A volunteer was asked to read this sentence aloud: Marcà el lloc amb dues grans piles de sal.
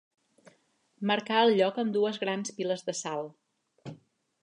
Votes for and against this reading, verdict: 2, 0, accepted